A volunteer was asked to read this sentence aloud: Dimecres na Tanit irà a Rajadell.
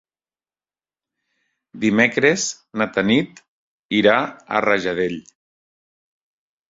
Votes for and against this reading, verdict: 2, 0, accepted